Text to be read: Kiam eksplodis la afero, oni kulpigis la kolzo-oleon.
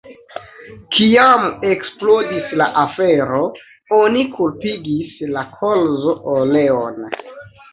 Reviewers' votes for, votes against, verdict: 2, 0, accepted